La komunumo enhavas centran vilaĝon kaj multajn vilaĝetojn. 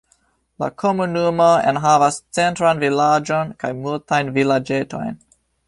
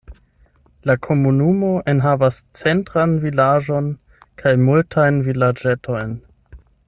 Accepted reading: first